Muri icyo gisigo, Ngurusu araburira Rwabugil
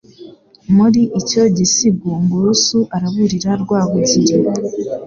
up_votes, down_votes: 2, 0